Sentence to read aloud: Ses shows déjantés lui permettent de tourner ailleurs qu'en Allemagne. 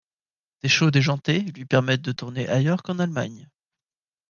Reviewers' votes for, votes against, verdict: 1, 2, rejected